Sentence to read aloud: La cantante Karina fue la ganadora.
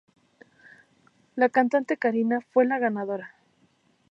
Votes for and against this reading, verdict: 2, 0, accepted